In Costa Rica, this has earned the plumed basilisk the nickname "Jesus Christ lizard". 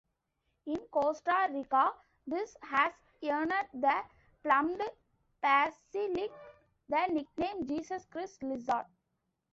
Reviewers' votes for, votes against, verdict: 0, 2, rejected